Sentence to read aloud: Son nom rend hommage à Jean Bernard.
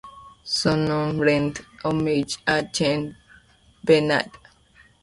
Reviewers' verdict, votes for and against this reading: rejected, 1, 2